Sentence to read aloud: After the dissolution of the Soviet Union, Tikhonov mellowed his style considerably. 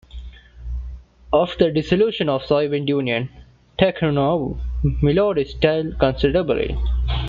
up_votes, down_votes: 0, 2